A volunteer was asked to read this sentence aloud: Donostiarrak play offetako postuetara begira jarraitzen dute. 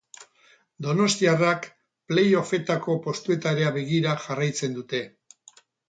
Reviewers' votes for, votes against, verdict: 2, 2, rejected